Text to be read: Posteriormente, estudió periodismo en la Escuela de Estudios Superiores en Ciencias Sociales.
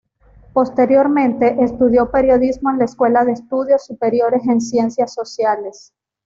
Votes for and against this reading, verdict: 0, 2, rejected